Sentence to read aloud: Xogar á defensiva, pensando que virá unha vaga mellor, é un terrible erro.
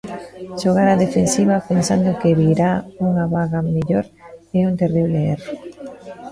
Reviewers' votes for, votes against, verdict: 0, 2, rejected